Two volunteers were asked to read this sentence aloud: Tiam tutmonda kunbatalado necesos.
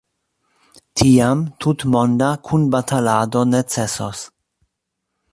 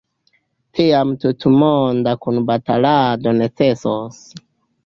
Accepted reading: first